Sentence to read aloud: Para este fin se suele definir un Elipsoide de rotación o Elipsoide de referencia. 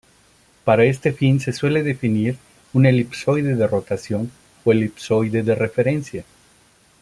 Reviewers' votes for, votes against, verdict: 2, 0, accepted